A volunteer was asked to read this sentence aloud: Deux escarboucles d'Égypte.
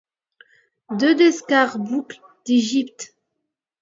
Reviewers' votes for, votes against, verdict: 2, 0, accepted